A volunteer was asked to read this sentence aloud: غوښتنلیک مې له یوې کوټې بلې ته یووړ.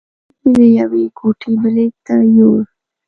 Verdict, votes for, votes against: rejected, 1, 2